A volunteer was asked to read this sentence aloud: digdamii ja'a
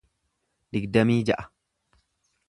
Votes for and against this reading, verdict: 2, 0, accepted